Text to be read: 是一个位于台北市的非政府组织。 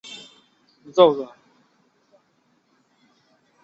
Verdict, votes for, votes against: rejected, 0, 4